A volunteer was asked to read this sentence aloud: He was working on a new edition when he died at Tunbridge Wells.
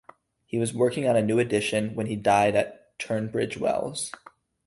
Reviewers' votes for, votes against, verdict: 2, 2, rejected